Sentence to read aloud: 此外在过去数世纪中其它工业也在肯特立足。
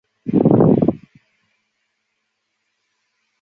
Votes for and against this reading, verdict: 0, 2, rejected